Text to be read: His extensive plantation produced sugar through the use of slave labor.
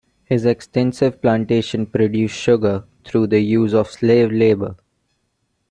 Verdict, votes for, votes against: accepted, 2, 0